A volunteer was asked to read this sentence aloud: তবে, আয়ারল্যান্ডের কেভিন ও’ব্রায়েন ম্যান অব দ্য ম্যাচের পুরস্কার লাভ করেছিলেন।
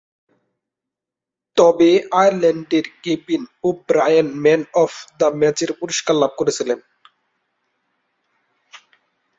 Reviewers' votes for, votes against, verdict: 2, 0, accepted